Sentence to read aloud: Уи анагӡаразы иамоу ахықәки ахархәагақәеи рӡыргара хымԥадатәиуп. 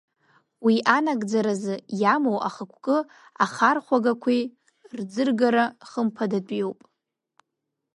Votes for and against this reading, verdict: 0, 2, rejected